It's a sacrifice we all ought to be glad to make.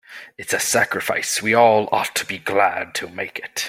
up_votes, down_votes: 1, 2